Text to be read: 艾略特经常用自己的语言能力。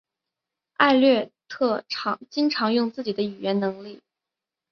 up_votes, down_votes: 6, 1